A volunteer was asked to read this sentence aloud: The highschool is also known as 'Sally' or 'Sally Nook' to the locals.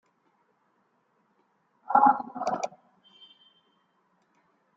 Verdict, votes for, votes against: rejected, 0, 2